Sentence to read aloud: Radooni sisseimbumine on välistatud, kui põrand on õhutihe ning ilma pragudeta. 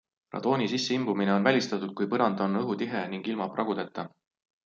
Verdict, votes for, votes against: accepted, 2, 0